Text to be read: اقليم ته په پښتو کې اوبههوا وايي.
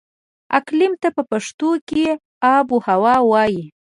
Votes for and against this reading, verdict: 0, 2, rejected